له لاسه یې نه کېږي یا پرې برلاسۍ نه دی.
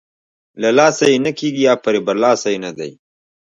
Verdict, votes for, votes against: rejected, 1, 2